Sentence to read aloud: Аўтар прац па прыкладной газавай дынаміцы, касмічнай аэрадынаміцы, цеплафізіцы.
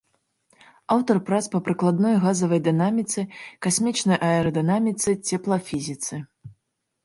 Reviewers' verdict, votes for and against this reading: accepted, 2, 0